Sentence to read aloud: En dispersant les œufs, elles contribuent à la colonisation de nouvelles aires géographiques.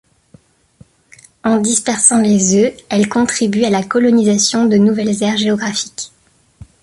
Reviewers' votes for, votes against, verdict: 2, 0, accepted